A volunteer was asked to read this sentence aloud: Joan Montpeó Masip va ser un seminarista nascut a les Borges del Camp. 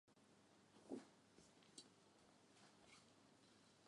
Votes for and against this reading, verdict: 0, 2, rejected